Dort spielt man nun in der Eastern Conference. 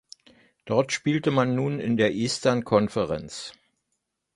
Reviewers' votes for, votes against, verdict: 0, 2, rejected